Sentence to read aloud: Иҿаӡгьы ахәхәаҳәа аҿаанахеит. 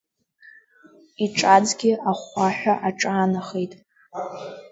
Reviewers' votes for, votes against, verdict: 2, 0, accepted